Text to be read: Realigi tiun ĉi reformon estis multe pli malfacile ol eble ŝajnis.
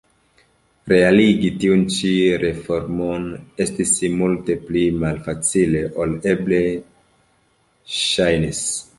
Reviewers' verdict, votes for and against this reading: accepted, 2, 0